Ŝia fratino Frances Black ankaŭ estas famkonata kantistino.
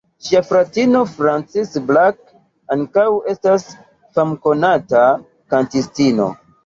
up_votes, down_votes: 1, 2